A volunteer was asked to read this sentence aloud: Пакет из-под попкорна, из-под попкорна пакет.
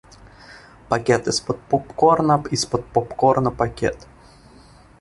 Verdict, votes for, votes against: rejected, 1, 2